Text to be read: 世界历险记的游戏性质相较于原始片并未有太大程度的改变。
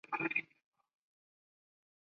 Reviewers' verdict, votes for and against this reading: rejected, 2, 8